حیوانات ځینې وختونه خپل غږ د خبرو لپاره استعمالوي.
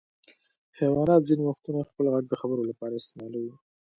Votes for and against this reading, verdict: 2, 0, accepted